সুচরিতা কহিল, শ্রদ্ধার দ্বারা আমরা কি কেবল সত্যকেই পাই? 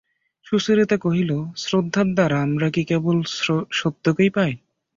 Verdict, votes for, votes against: rejected, 5, 5